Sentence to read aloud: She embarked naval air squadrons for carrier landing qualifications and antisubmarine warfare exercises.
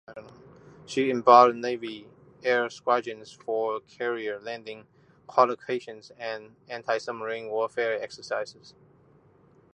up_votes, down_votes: 1, 2